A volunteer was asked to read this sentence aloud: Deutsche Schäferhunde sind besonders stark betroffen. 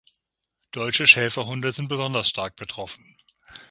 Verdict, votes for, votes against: accepted, 6, 0